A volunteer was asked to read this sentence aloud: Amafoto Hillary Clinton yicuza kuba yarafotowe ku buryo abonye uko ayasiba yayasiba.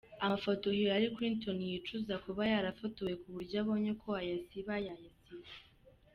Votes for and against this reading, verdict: 2, 0, accepted